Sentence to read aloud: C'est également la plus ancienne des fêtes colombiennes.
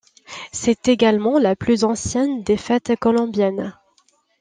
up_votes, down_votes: 2, 0